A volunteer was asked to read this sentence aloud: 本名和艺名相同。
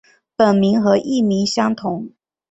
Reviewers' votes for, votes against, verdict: 5, 1, accepted